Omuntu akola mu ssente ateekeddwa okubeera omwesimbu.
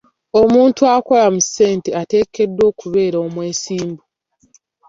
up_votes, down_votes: 2, 0